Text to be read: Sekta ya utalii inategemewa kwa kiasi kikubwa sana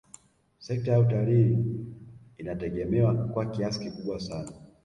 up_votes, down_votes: 0, 2